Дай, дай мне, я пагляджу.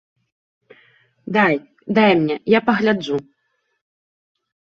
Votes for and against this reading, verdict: 2, 0, accepted